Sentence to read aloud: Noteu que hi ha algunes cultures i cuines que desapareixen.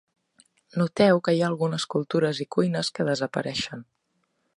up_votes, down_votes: 2, 0